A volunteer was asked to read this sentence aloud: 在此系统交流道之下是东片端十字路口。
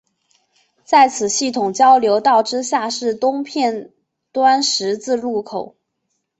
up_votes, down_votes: 2, 0